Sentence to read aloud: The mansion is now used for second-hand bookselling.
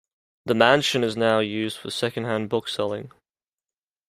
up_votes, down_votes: 2, 1